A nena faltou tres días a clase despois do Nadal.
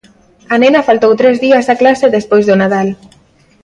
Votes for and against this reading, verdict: 2, 0, accepted